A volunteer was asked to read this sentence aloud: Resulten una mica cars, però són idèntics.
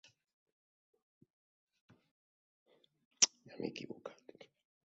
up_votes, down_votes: 0, 2